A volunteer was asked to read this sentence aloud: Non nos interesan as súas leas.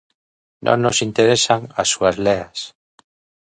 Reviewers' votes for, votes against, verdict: 2, 1, accepted